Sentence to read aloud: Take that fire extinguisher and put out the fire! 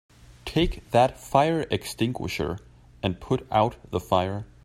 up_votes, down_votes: 3, 0